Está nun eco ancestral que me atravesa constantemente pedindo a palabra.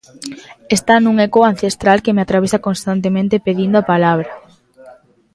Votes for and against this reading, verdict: 1, 2, rejected